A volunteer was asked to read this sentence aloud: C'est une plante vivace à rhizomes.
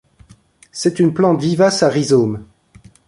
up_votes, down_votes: 2, 0